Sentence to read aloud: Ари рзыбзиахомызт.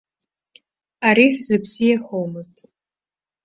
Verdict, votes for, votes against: rejected, 0, 2